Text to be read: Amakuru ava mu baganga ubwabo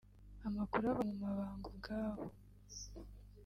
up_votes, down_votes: 1, 2